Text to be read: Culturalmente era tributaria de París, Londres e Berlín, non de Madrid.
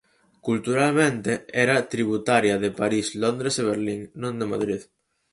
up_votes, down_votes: 4, 0